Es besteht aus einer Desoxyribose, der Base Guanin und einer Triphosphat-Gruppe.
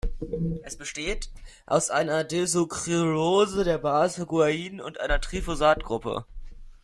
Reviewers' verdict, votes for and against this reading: rejected, 0, 2